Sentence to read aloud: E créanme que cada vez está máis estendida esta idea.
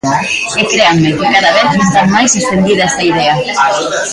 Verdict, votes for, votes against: rejected, 0, 2